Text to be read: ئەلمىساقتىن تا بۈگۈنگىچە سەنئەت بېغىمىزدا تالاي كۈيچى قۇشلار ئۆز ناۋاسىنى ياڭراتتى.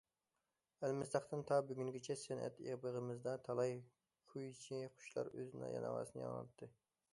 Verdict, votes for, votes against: rejected, 1, 2